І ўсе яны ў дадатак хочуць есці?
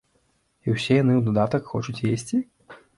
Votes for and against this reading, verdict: 2, 0, accepted